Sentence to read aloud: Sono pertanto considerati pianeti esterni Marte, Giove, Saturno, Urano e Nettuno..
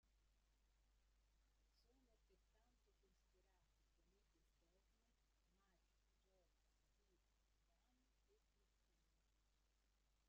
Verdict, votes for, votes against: rejected, 0, 2